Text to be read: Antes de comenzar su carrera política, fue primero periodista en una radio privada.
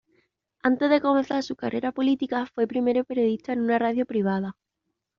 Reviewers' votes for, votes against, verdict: 2, 0, accepted